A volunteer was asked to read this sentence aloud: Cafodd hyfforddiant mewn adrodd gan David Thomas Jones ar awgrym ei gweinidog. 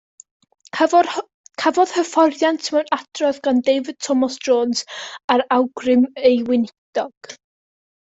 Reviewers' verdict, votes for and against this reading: rejected, 0, 2